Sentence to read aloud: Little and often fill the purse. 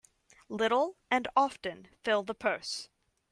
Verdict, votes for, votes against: accepted, 2, 0